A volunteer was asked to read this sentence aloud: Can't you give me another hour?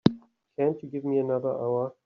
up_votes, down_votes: 0, 2